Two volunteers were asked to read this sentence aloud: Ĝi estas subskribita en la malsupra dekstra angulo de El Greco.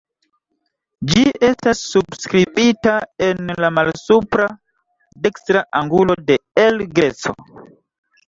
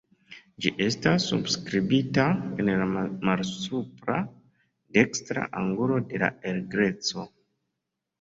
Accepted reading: second